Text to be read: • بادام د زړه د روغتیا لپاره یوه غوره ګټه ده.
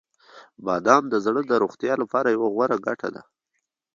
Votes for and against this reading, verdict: 2, 0, accepted